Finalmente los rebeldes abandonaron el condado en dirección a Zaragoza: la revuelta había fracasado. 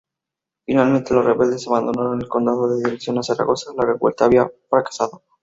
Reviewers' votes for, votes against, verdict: 2, 0, accepted